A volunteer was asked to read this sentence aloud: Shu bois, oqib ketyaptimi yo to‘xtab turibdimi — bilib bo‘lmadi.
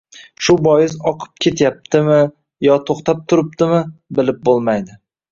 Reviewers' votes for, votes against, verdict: 2, 1, accepted